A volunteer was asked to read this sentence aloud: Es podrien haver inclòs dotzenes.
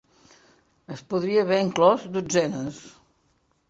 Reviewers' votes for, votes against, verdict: 0, 2, rejected